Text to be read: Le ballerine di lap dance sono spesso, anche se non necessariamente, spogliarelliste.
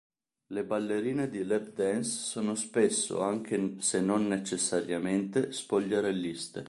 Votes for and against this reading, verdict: 1, 2, rejected